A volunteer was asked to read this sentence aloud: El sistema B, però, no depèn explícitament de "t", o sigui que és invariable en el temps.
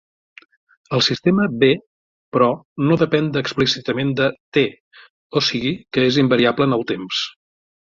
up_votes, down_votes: 0, 2